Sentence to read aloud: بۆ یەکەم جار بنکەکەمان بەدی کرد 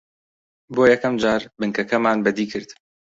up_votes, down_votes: 2, 0